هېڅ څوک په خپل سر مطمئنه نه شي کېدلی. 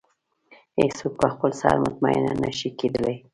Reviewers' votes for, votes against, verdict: 2, 0, accepted